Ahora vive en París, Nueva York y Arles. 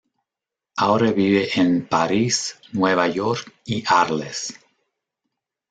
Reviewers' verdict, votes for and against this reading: accepted, 2, 0